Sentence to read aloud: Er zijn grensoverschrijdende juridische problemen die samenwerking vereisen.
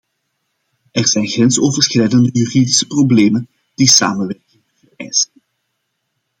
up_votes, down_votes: 0, 2